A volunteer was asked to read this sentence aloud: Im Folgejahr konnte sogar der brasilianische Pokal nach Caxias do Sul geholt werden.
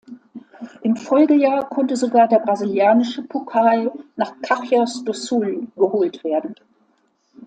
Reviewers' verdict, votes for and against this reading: accepted, 2, 0